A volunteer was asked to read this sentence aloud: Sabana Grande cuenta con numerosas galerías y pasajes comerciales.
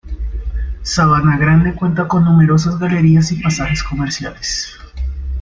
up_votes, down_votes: 2, 0